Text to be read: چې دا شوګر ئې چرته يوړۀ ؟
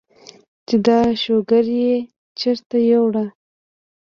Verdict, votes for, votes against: rejected, 0, 2